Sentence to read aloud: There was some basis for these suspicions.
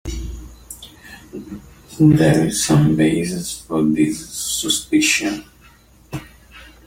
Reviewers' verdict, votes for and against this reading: rejected, 1, 2